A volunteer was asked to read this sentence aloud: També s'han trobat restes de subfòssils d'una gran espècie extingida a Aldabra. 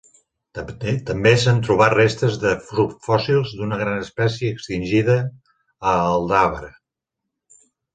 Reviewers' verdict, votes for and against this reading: rejected, 1, 2